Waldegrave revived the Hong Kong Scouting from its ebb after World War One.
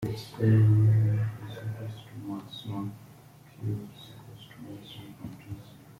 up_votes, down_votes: 0, 2